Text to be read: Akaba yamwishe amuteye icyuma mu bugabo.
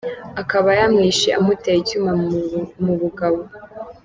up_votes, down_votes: 2, 1